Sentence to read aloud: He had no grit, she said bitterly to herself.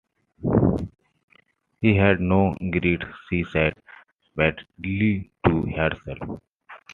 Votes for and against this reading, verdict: 1, 2, rejected